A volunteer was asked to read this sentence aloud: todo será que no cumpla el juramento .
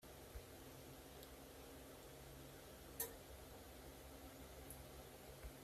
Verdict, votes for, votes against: rejected, 0, 2